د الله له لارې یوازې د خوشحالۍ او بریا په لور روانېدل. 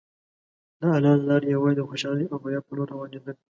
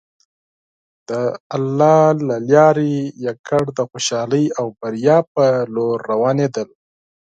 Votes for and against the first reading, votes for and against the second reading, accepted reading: 2, 0, 2, 4, first